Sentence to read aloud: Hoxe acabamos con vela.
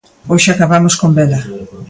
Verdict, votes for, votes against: accepted, 2, 0